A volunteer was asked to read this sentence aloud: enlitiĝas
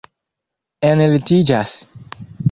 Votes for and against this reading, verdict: 1, 2, rejected